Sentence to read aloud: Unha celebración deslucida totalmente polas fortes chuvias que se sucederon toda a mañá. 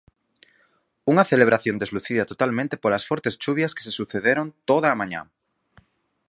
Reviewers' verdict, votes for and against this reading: accepted, 4, 0